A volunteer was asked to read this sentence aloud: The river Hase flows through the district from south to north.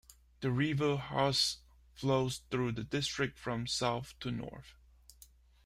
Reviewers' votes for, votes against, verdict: 2, 1, accepted